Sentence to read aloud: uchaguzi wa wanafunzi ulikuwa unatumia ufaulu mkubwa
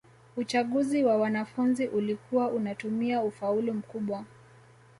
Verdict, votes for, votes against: rejected, 1, 2